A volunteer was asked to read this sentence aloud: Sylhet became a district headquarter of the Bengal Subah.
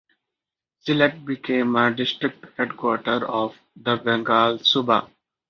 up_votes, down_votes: 2, 1